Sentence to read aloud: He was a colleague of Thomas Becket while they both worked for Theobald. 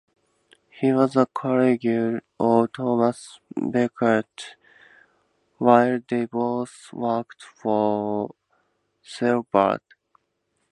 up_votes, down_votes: 2, 2